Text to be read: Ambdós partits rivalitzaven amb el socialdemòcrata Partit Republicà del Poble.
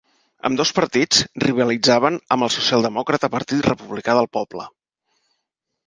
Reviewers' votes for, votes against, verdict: 6, 2, accepted